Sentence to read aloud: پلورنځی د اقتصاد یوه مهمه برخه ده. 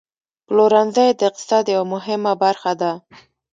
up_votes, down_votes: 1, 2